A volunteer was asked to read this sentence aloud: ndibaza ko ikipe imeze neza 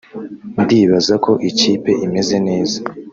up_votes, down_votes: 0, 2